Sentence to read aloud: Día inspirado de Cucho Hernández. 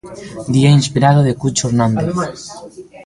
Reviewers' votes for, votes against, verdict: 0, 2, rejected